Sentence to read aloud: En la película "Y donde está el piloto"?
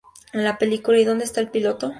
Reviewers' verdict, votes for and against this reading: accepted, 2, 0